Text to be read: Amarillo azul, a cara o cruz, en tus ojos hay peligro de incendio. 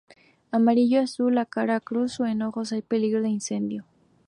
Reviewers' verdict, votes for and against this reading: rejected, 0, 2